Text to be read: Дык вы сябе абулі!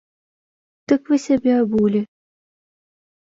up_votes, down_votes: 2, 0